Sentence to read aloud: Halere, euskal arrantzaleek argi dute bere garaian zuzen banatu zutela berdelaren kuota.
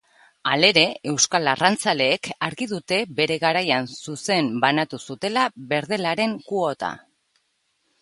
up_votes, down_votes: 2, 0